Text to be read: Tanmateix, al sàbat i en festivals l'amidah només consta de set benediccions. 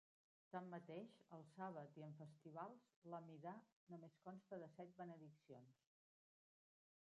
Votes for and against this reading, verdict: 1, 2, rejected